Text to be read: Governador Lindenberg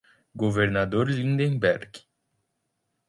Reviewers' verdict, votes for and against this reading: accepted, 2, 0